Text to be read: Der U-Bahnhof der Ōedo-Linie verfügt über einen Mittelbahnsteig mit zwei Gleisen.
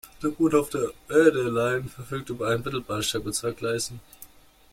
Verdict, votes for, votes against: rejected, 0, 2